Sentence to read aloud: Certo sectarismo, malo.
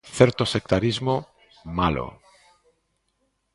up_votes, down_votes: 2, 0